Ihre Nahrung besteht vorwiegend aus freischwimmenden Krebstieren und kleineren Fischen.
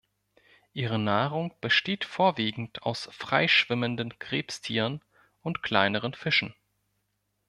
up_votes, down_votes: 2, 0